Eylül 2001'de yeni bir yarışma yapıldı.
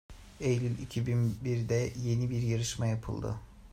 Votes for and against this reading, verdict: 0, 2, rejected